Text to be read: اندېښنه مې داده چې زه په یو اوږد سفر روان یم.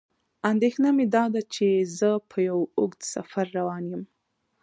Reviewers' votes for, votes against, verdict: 1, 2, rejected